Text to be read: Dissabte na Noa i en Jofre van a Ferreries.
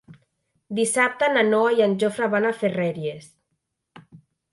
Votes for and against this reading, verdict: 3, 0, accepted